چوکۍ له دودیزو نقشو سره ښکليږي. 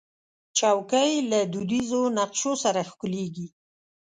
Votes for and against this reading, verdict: 2, 0, accepted